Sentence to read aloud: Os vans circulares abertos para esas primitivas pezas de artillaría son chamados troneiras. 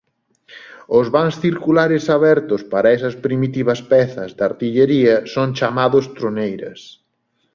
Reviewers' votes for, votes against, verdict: 1, 2, rejected